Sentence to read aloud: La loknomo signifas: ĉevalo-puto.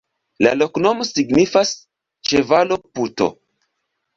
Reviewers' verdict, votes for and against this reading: rejected, 1, 2